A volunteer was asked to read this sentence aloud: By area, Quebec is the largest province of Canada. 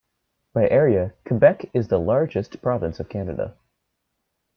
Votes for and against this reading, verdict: 2, 0, accepted